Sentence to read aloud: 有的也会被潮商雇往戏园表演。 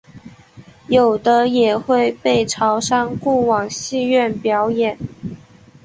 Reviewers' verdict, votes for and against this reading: accepted, 2, 0